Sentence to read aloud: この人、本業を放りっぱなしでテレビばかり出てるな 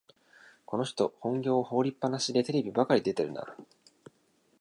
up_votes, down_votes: 2, 0